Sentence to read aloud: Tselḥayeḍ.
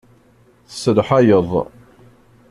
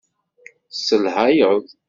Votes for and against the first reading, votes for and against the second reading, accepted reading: 2, 0, 1, 2, first